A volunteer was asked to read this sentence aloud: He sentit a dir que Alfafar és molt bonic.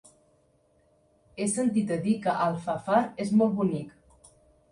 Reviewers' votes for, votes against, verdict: 3, 0, accepted